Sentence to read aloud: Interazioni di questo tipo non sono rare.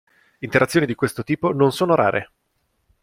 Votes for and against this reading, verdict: 2, 0, accepted